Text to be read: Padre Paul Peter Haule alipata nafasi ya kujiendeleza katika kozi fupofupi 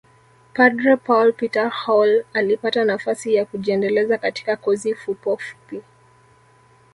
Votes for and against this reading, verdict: 1, 2, rejected